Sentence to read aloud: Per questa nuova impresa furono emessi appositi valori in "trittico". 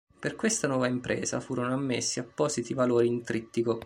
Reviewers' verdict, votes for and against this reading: accepted, 2, 0